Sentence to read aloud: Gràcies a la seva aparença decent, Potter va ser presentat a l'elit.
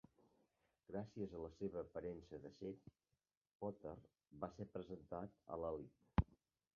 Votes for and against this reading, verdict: 1, 2, rejected